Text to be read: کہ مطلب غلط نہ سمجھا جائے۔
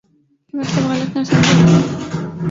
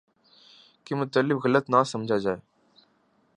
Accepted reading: second